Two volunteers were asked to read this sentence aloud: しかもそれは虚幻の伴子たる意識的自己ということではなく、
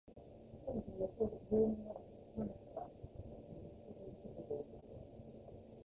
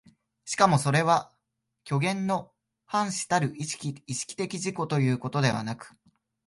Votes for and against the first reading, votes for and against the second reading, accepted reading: 0, 2, 2, 1, second